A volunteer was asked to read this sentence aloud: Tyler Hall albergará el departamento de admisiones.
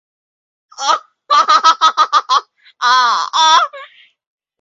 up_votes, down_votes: 0, 2